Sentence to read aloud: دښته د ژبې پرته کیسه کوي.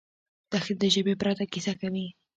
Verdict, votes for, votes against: rejected, 0, 2